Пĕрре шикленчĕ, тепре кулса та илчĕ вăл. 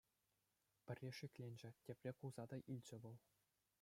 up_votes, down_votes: 2, 0